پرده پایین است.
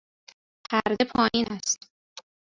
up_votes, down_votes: 1, 2